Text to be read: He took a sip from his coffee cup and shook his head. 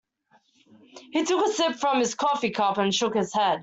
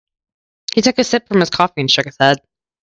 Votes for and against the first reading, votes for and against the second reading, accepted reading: 2, 0, 0, 2, first